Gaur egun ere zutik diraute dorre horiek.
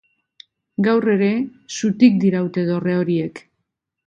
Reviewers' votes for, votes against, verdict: 0, 2, rejected